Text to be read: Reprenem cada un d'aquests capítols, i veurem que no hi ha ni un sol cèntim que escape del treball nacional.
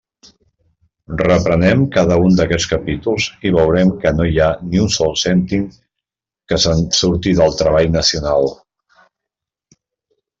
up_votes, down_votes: 0, 2